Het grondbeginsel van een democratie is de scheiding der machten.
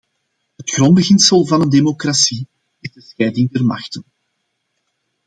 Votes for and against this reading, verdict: 0, 2, rejected